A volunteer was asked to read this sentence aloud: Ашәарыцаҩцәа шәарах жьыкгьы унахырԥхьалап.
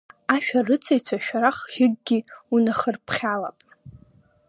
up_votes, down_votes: 2, 0